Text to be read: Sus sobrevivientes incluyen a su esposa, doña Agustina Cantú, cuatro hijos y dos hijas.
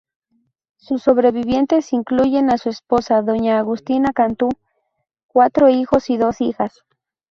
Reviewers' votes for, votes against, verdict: 2, 0, accepted